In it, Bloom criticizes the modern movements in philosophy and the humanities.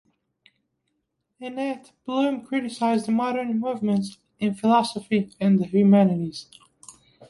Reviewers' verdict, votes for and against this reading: rejected, 1, 2